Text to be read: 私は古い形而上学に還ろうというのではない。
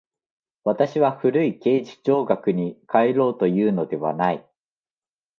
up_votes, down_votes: 2, 0